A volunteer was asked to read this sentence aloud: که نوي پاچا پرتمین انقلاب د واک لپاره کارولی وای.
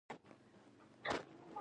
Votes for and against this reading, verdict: 0, 2, rejected